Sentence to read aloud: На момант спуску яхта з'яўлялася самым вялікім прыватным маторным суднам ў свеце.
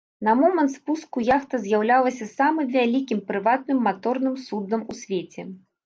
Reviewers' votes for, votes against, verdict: 2, 0, accepted